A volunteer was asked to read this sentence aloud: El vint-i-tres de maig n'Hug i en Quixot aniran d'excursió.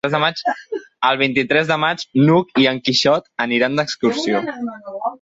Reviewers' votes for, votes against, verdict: 0, 2, rejected